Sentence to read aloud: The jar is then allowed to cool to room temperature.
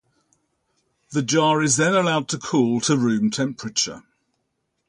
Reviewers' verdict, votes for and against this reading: rejected, 0, 2